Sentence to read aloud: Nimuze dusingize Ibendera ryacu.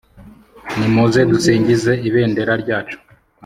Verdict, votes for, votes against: accepted, 2, 0